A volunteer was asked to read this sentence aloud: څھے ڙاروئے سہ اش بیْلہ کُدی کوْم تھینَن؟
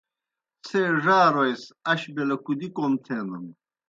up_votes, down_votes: 2, 0